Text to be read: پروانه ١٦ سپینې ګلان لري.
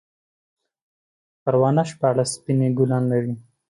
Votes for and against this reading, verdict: 0, 2, rejected